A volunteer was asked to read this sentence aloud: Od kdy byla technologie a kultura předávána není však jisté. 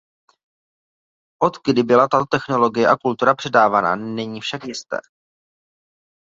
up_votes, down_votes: 0, 2